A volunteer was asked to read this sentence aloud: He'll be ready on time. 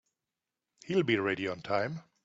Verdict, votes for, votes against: accepted, 2, 0